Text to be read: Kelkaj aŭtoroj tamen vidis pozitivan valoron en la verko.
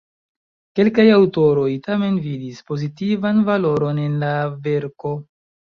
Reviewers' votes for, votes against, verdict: 2, 1, accepted